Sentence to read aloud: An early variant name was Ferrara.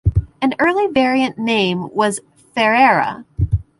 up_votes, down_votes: 0, 2